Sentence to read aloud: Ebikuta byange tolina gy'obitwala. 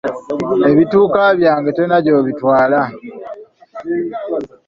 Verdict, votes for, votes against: rejected, 0, 2